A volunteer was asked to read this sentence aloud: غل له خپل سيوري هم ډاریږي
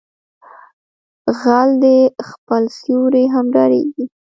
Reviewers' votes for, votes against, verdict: 1, 2, rejected